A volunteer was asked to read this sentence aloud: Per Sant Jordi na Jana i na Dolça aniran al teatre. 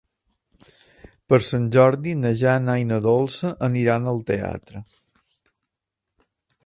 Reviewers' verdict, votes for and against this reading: accepted, 4, 0